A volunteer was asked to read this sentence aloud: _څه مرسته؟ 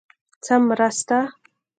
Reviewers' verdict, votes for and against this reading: rejected, 0, 2